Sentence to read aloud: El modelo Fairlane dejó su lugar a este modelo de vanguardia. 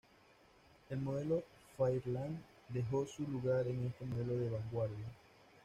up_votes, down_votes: 1, 2